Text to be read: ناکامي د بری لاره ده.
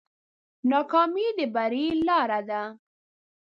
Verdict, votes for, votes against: accepted, 2, 0